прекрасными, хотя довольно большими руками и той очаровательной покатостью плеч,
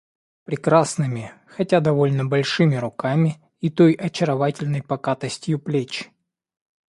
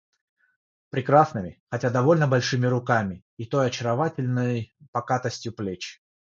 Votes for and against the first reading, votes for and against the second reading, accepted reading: 2, 0, 3, 3, first